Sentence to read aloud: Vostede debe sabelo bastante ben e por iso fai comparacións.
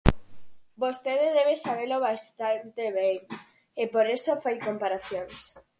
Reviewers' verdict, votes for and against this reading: rejected, 0, 4